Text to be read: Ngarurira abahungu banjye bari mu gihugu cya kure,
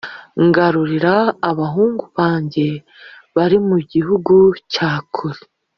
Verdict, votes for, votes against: accepted, 2, 0